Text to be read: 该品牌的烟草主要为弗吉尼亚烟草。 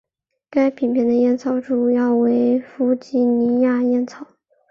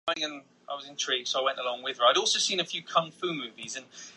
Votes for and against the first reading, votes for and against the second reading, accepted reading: 3, 1, 2, 4, first